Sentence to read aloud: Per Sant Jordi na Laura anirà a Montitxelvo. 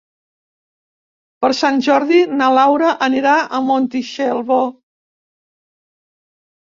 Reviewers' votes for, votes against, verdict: 0, 2, rejected